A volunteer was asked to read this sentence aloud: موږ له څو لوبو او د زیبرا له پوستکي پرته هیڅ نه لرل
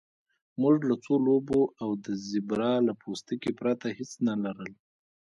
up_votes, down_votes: 2, 1